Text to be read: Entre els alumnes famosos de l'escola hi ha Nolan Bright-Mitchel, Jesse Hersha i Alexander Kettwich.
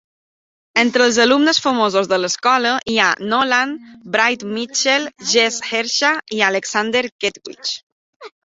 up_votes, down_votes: 2, 0